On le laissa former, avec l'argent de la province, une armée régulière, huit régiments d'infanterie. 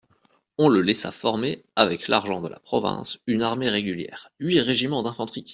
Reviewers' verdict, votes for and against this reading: accepted, 2, 1